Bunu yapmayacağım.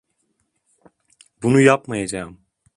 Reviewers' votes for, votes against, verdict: 2, 0, accepted